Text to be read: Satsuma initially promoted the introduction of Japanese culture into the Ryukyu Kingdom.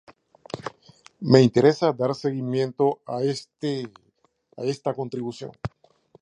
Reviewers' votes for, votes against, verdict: 0, 2, rejected